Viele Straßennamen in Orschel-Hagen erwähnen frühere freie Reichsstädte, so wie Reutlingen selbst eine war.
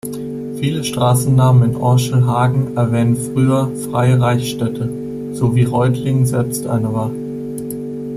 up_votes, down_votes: 1, 2